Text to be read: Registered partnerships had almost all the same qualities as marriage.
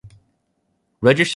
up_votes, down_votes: 0, 2